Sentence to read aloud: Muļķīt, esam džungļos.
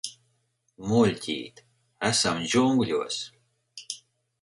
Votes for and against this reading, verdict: 4, 0, accepted